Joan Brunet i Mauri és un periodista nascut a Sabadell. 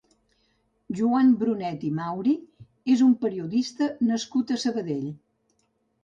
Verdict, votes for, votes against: accepted, 3, 0